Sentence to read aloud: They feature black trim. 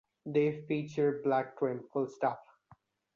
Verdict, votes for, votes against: rejected, 0, 2